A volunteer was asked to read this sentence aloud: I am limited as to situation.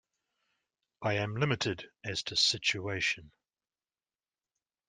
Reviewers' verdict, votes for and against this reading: accepted, 2, 0